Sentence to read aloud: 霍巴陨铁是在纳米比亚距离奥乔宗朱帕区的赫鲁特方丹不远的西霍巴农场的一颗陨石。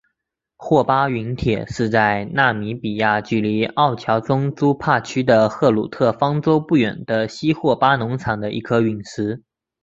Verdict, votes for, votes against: accepted, 3, 1